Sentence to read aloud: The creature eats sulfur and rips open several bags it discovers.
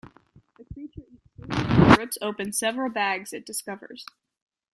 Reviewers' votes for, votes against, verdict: 0, 2, rejected